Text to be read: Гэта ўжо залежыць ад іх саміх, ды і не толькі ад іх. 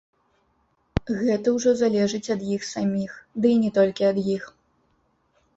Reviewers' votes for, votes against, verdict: 1, 2, rejected